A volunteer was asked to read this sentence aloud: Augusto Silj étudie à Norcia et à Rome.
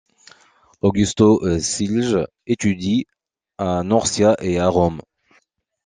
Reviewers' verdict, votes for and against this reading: rejected, 1, 2